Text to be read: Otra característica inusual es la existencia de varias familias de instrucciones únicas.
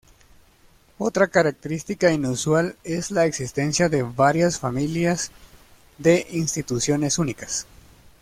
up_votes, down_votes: 0, 2